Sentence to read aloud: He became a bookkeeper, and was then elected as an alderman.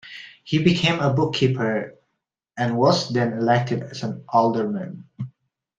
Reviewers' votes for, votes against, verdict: 2, 0, accepted